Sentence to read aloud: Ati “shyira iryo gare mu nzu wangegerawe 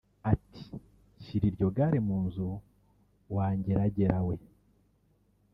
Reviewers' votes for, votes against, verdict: 1, 2, rejected